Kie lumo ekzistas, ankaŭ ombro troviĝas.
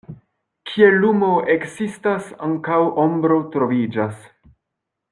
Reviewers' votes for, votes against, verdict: 1, 2, rejected